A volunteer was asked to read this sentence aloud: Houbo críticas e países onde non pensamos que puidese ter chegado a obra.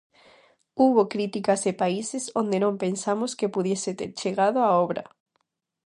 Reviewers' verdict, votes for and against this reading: rejected, 0, 2